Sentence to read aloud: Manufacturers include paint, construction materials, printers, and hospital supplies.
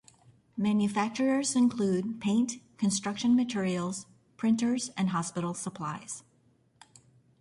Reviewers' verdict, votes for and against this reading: accepted, 2, 0